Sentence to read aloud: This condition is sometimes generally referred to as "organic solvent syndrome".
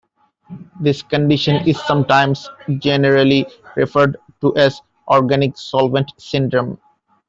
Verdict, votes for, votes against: accepted, 2, 1